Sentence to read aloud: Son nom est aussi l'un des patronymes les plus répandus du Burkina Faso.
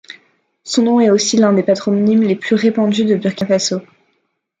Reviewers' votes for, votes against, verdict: 2, 1, accepted